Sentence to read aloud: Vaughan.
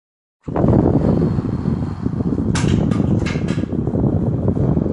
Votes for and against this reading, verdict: 0, 2, rejected